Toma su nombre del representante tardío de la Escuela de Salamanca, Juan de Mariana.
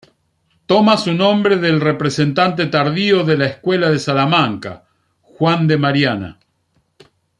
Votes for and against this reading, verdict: 2, 0, accepted